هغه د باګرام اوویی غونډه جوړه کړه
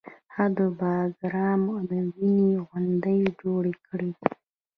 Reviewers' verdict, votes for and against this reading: rejected, 1, 2